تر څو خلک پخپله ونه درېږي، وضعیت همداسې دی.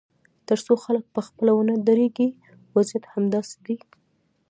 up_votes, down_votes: 0, 2